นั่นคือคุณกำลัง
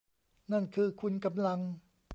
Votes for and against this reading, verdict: 2, 0, accepted